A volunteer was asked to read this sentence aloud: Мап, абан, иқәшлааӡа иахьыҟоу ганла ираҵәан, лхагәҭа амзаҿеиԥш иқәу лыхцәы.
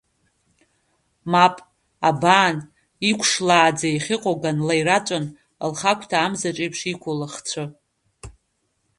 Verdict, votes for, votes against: accepted, 2, 0